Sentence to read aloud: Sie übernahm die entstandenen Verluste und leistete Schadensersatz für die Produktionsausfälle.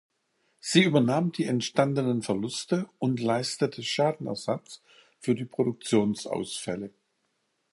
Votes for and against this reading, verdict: 0, 2, rejected